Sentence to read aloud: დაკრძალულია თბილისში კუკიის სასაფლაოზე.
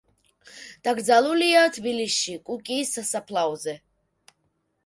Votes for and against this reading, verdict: 1, 2, rejected